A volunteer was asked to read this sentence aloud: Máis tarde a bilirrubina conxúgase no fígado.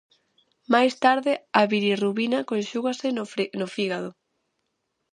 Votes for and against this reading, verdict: 0, 2, rejected